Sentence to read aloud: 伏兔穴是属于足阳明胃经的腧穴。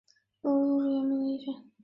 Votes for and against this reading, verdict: 1, 3, rejected